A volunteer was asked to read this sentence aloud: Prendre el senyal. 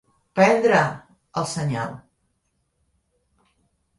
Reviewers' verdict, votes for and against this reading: rejected, 0, 2